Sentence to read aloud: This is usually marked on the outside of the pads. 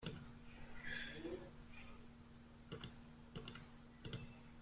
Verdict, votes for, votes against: rejected, 0, 2